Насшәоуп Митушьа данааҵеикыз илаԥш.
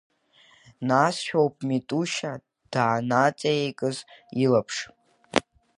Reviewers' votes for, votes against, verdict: 1, 2, rejected